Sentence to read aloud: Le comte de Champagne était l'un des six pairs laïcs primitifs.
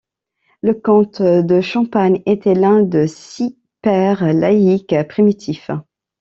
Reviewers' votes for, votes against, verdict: 0, 2, rejected